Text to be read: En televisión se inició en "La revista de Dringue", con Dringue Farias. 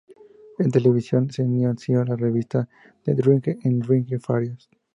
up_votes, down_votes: 0, 2